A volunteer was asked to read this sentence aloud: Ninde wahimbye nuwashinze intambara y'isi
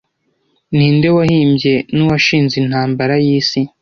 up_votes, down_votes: 2, 0